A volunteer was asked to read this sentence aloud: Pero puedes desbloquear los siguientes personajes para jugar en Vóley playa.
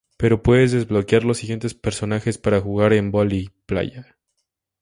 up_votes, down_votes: 2, 0